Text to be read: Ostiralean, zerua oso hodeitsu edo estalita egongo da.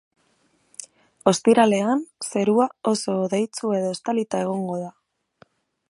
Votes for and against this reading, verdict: 2, 0, accepted